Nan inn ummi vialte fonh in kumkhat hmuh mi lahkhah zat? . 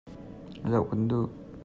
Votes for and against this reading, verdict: 0, 2, rejected